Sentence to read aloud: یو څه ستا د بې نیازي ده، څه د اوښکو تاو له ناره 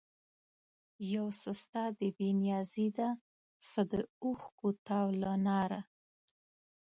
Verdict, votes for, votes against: accepted, 2, 0